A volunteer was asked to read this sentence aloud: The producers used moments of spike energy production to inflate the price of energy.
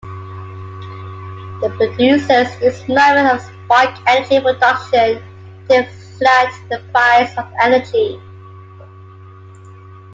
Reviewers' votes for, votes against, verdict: 1, 2, rejected